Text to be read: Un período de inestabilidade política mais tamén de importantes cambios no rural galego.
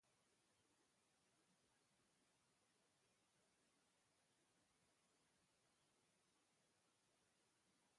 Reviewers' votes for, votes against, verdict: 0, 2, rejected